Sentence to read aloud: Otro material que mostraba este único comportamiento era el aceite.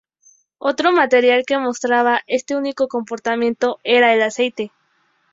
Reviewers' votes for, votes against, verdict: 2, 2, rejected